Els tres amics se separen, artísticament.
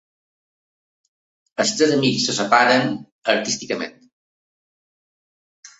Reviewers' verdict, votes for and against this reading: accepted, 2, 0